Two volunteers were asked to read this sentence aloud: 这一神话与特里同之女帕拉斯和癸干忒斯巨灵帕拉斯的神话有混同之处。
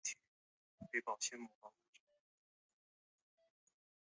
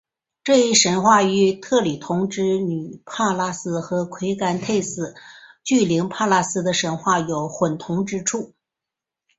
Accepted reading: second